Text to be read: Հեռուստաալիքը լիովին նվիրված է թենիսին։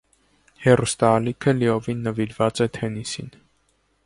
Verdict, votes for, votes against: accepted, 2, 0